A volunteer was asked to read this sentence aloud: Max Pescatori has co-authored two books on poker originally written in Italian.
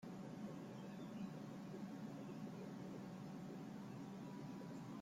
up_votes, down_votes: 0, 2